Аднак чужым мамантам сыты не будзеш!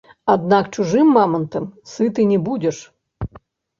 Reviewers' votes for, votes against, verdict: 1, 2, rejected